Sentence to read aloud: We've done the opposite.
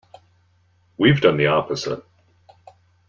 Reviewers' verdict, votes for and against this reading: accepted, 2, 1